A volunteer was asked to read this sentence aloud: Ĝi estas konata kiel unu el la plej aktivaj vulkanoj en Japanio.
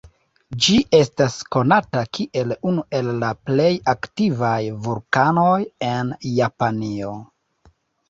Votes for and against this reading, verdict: 2, 0, accepted